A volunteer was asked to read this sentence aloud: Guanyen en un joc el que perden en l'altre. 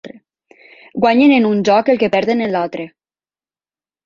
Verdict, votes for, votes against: accepted, 3, 0